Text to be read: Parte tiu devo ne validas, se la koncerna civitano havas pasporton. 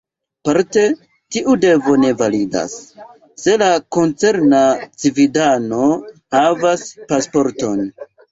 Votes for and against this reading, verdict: 1, 2, rejected